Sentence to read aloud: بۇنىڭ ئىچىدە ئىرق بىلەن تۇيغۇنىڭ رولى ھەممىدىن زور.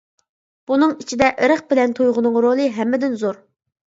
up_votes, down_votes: 2, 0